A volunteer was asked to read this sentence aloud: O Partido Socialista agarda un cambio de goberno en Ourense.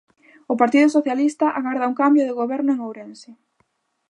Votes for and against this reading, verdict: 2, 0, accepted